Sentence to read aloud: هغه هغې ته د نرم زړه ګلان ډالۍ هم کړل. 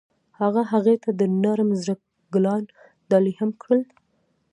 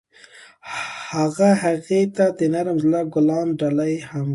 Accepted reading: second